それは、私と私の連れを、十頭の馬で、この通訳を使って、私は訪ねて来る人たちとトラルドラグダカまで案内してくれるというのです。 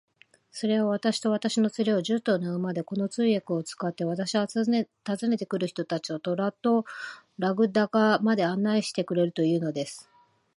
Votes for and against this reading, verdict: 2, 1, accepted